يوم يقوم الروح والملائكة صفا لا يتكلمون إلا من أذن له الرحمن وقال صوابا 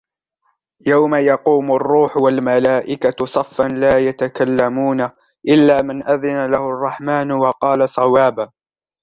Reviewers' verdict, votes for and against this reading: accepted, 2, 0